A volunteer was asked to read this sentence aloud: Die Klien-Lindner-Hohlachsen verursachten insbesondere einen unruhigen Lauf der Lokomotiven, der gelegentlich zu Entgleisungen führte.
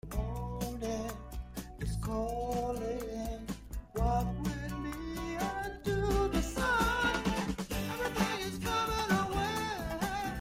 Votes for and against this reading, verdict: 0, 2, rejected